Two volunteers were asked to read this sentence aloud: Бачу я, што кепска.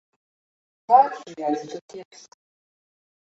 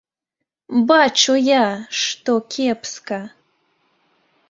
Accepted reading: second